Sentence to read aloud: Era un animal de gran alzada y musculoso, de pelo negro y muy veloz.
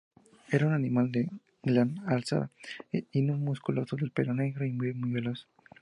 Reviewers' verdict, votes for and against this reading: accepted, 2, 0